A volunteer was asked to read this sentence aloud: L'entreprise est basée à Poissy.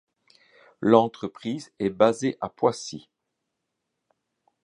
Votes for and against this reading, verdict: 2, 0, accepted